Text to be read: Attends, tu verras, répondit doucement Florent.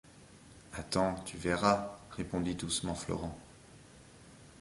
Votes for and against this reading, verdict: 2, 0, accepted